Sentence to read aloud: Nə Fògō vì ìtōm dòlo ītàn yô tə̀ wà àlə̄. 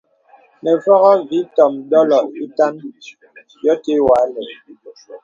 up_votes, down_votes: 2, 0